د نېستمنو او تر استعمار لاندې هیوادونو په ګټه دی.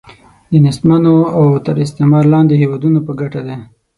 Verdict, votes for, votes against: accepted, 9, 0